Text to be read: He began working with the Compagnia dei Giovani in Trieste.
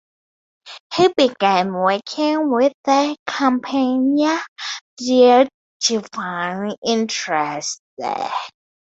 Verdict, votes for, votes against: rejected, 0, 4